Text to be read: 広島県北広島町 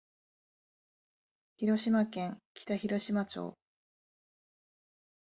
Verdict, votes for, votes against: accepted, 2, 0